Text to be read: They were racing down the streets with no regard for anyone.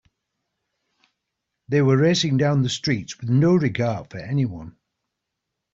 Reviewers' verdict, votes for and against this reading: accepted, 3, 0